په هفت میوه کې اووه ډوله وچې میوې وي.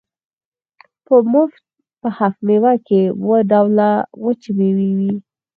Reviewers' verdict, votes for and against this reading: rejected, 2, 4